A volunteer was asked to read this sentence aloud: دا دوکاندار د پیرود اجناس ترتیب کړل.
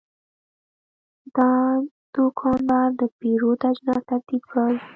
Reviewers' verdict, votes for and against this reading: rejected, 0, 2